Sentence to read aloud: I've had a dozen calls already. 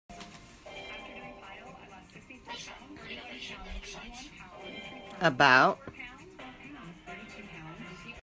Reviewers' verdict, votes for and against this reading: rejected, 0, 3